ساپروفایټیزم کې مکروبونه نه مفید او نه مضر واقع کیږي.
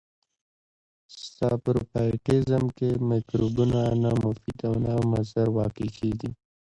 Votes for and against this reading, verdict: 0, 2, rejected